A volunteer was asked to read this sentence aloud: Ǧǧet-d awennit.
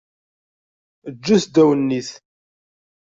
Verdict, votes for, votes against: rejected, 0, 2